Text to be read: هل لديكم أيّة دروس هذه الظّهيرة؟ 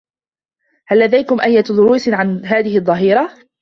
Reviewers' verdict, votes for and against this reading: rejected, 0, 2